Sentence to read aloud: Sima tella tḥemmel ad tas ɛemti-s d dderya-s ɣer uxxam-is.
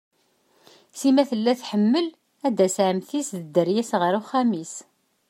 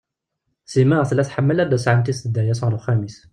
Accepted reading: first